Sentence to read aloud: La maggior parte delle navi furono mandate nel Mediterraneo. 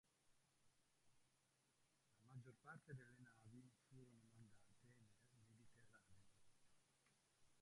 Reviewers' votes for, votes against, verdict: 0, 2, rejected